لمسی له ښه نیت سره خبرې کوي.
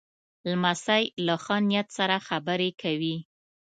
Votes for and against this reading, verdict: 2, 1, accepted